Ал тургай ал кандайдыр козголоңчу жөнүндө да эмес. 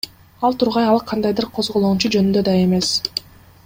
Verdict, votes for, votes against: rejected, 1, 2